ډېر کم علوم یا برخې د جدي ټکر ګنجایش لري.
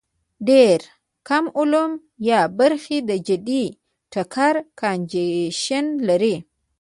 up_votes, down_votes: 1, 2